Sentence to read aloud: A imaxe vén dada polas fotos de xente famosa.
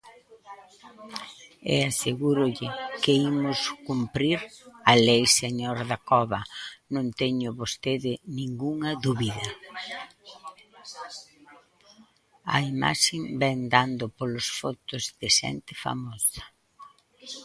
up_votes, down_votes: 0, 2